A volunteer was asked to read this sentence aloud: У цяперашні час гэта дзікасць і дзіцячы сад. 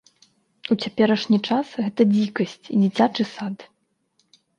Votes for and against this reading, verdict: 3, 0, accepted